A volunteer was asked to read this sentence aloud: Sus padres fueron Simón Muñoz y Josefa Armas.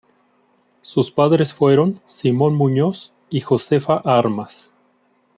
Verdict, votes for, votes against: accepted, 2, 1